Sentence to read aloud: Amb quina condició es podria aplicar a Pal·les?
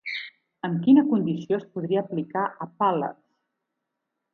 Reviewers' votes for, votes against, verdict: 2, 2, rejected